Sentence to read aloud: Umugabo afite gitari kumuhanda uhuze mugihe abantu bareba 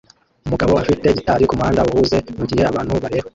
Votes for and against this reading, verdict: 1, 2, rejected